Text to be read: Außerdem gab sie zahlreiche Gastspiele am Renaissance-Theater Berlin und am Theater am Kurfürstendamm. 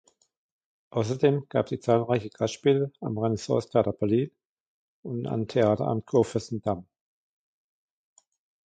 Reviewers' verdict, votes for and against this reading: accepted, 2, 1